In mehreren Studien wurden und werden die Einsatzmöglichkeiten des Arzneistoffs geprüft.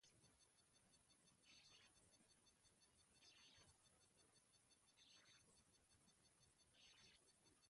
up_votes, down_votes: 0, 2